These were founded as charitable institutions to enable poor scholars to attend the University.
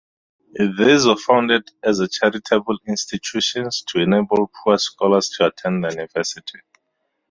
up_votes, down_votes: 2, 0